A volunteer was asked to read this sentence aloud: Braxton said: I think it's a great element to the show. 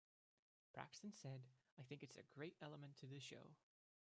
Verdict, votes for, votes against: rejected, 0, 2